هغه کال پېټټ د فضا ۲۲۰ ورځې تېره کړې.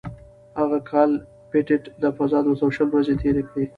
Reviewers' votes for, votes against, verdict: 0, 2, rejected